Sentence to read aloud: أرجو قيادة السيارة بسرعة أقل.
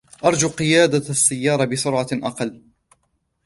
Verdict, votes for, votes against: accepted, 2, 1